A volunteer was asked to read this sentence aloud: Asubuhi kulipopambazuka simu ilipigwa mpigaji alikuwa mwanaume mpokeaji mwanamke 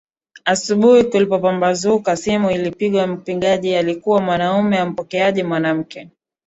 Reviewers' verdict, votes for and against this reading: accepted, 6, 0